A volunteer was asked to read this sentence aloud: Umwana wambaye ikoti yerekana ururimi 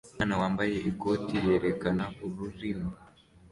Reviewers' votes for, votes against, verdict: 2, 1, accepted